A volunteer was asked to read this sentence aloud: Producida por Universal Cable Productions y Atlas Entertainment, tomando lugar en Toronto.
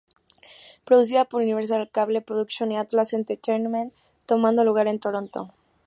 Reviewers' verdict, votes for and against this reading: accepted, 2, 0